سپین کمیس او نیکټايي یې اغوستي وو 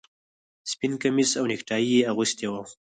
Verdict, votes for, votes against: rejected, 0, 4